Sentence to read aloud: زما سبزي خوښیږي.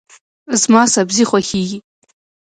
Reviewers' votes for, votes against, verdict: 2, 1, accepted